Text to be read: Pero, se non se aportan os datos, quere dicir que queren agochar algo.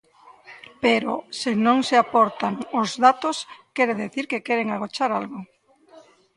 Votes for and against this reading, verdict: 0, 2, rejected